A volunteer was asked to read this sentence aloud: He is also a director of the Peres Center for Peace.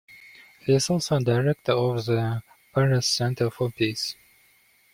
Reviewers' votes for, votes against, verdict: 3, 2, accepted